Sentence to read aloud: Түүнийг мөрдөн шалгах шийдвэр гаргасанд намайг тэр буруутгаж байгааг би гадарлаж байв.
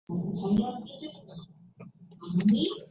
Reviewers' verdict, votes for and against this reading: rejected, 0, 2